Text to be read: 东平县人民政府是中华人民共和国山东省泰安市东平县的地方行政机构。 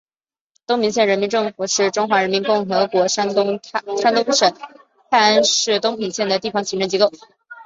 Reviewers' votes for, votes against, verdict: 2, 0, accepted